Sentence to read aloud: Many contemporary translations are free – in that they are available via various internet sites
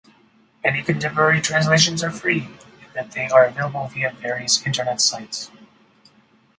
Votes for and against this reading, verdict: 0, 4, rejected